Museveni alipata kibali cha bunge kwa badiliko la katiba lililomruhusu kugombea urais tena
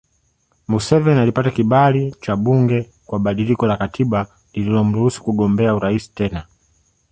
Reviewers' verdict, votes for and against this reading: accepted, 3, 0